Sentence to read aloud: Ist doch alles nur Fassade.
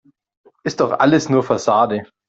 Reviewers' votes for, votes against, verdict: 2, 0, accepted